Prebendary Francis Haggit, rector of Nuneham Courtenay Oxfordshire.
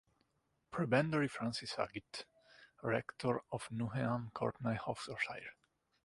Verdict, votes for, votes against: accepted, 2, 0